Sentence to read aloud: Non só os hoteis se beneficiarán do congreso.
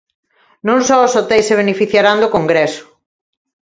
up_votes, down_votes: 2, 0